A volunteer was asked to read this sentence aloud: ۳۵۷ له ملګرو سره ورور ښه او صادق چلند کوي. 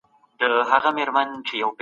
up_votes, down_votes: 0, 2